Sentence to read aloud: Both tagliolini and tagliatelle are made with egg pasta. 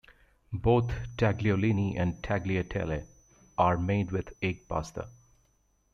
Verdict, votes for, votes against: accepted, 2, 1